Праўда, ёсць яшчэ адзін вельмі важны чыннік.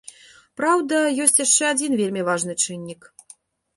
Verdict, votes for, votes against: accepted, 2, 0